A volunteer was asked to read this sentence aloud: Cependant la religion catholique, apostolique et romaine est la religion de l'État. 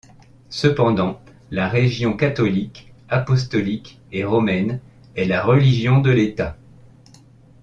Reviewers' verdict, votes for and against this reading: rejected, 0, 2